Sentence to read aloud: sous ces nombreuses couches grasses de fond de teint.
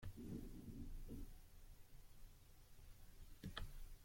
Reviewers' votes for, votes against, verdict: 0, 2, rejected